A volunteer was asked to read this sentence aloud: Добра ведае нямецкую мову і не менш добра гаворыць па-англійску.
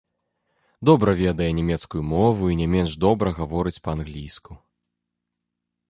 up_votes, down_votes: 2, 0